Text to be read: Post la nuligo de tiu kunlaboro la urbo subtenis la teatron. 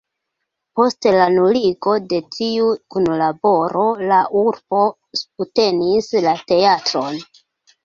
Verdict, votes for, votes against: accepted, 2, 0